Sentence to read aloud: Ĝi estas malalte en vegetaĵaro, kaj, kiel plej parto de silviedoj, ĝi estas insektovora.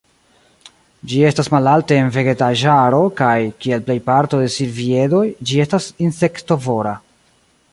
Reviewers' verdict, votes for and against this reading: accepted, 2, 0